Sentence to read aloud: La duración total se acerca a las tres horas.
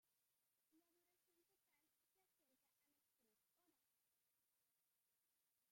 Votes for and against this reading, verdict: 0, 2, rejected